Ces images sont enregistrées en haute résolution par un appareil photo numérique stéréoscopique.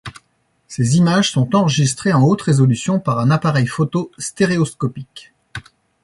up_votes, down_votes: 1, 2